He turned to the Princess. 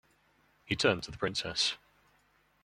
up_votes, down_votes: 2, 0